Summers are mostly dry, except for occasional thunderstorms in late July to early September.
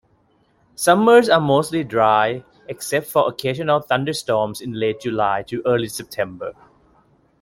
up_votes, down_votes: 2, 1